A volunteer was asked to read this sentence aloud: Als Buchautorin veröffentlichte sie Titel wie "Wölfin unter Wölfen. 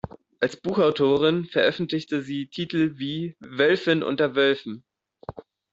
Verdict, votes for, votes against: accepted, 3, 0